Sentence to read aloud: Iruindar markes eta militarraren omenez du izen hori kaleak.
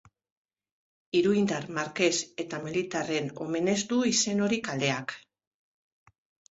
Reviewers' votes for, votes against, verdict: 0, 2, rejected